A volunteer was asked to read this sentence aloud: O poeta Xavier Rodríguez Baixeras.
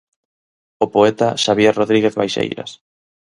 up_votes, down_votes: 0, 4